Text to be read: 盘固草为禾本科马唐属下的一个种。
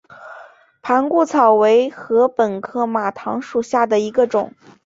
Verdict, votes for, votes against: accepted, 2, 0